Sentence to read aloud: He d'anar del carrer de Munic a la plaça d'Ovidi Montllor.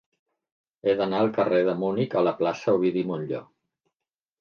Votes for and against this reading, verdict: 0, 2, rejected